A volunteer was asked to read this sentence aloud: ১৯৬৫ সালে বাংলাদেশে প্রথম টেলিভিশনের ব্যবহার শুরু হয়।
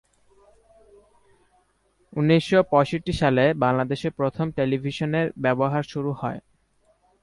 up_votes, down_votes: 0, 2